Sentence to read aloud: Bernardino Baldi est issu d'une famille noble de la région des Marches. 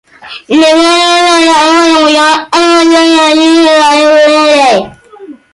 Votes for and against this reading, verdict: 0, 2, rejected